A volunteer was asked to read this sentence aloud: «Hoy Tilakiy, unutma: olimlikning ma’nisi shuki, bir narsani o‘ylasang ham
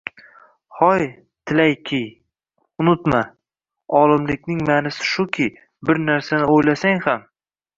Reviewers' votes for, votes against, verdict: 0, 2, rejected